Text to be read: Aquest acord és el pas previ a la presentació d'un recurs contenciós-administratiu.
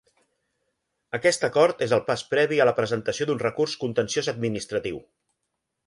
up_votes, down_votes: 2, 0